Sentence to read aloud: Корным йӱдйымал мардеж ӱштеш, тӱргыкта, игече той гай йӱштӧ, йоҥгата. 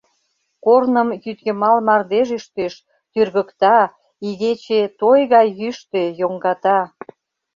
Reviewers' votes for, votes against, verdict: 2, 0, accepted